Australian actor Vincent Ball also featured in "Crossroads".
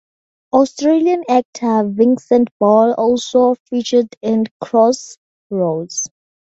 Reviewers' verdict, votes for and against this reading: rejected, 0, 8